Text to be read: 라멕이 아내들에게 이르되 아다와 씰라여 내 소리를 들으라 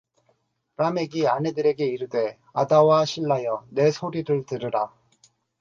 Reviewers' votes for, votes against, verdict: 4, 0, accepted